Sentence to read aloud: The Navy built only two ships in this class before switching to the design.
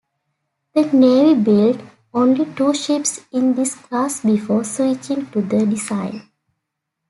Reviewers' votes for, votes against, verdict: 2, 0, accepted